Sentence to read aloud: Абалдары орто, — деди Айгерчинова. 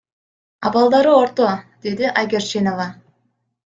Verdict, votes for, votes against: accepted, 2, 0